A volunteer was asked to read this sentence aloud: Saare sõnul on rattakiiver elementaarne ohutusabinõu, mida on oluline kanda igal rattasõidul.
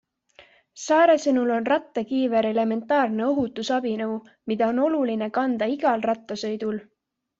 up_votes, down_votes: 2, 0